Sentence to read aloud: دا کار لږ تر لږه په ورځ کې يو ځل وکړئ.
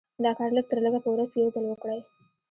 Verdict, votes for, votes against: rejected, 0, 2